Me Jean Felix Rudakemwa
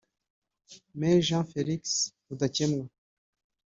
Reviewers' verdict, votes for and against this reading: accepted, 2, 0